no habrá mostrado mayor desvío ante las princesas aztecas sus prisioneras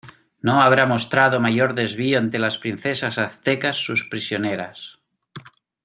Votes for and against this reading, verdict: 2, 1, accepted